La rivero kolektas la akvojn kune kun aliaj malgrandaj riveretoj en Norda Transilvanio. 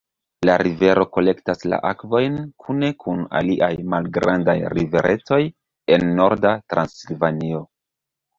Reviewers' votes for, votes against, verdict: 1, 2, rejected